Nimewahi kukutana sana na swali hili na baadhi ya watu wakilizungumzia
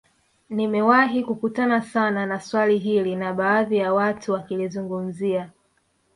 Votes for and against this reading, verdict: 1, 2, rejected